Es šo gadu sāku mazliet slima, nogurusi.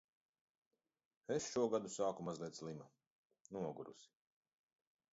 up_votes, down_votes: 1, 2